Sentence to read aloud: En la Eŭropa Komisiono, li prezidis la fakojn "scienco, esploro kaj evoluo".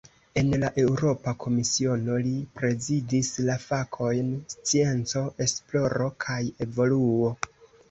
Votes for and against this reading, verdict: 3, 2, accepted